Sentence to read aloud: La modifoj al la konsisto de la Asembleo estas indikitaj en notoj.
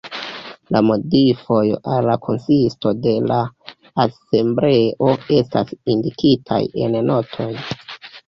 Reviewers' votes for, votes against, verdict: 2, 1, accepted